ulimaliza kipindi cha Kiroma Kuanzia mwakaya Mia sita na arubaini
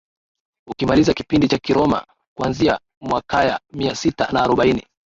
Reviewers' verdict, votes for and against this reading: rejected, 1, 2